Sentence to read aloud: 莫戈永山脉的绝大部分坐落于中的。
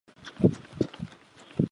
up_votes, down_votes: 0, 3